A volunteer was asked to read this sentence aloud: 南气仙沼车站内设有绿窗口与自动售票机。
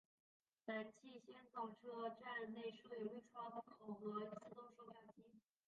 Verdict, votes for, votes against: rejected, 1, 2